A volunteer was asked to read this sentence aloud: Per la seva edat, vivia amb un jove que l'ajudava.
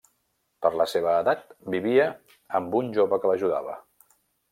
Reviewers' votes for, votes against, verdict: 1, 2, rejected